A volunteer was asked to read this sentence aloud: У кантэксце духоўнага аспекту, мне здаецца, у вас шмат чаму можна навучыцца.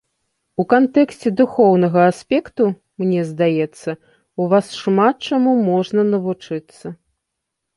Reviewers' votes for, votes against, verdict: 2, 0, accepted